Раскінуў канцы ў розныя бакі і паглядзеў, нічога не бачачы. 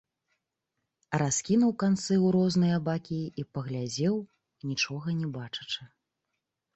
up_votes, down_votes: 2, 0